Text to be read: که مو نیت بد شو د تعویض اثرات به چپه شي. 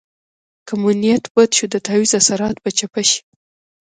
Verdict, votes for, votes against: accepted, 2, 0